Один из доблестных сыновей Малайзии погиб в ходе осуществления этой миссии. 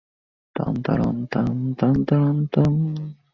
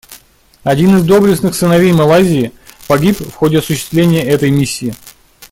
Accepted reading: second